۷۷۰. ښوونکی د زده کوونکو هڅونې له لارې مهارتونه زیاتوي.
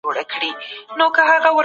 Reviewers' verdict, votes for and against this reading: rejected, 0, 2